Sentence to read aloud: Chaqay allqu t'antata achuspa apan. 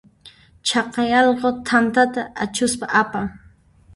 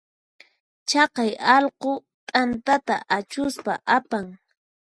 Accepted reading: second